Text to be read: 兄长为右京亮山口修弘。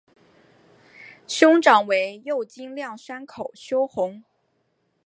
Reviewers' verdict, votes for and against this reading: accepted, 2, 0